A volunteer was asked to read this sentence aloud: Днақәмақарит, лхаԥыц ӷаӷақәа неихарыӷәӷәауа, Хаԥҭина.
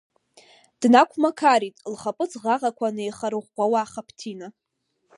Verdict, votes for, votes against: accepted, 2, 0